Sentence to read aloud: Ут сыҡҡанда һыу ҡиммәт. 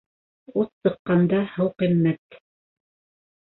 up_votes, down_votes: 2, 0